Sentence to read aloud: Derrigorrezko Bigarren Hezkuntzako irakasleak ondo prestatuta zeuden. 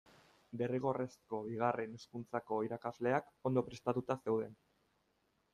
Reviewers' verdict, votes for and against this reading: accepted, 2, 1